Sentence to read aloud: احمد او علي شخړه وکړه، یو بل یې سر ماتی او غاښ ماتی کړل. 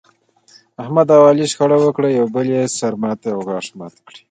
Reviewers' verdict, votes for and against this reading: accepted, 2, 1